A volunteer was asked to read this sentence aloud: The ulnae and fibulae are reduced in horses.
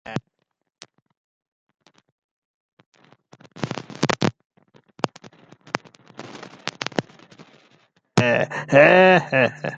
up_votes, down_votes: 0, 2